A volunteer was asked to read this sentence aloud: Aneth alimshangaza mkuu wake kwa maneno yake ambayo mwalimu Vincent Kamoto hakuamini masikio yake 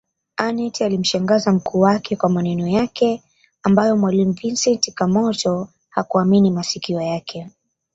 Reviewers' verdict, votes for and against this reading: accepted, 2, 0